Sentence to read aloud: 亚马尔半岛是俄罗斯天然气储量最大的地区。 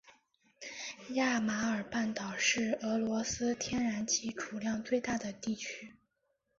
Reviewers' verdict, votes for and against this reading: accepted, 3, 0